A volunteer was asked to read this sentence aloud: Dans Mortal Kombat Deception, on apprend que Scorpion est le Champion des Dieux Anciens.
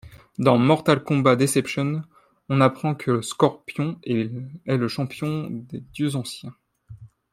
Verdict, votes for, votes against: rejected, 1, 2